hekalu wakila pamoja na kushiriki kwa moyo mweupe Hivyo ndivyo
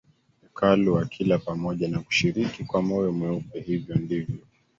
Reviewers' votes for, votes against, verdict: 1, 2, rejected